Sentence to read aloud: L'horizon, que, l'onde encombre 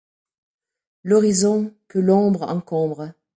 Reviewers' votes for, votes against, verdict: 0, 2, rejected